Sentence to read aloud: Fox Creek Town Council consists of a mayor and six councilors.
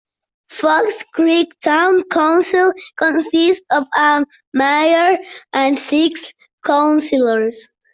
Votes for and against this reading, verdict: 2, 1, accepted